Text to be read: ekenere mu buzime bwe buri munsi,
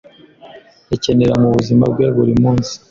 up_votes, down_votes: 1, 2